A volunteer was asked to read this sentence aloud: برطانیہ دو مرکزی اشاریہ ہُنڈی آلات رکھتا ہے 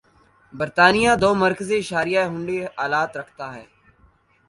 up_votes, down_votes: 2, 0